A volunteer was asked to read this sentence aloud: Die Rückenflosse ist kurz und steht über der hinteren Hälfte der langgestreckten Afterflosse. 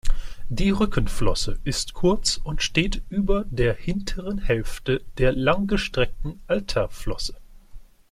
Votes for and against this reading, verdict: 0, 2, rejected